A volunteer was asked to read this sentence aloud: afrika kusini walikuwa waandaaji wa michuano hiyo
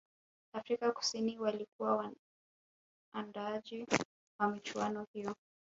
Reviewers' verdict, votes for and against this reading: rejected, 1, 2